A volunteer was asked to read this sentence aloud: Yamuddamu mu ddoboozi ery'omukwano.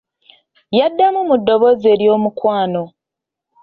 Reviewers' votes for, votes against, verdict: 0, 2, rejected